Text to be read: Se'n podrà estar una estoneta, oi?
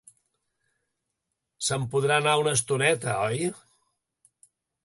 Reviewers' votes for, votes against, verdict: 1, 2, rejected